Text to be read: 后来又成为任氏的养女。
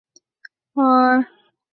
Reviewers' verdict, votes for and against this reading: rejected, 2, 5